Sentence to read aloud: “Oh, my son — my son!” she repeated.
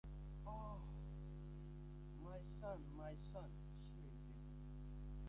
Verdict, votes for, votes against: rejected, 0, 2